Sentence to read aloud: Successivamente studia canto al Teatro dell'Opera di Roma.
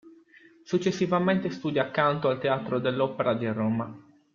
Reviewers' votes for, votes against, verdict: 2, 1, accepted